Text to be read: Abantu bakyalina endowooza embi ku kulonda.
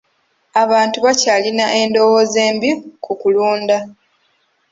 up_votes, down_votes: 1, 2